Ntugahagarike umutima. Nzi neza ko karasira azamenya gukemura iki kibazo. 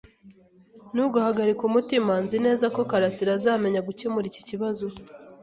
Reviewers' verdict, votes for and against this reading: accepted, 2, 0